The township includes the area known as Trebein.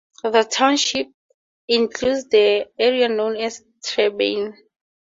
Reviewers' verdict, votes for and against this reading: accepted, 4, 0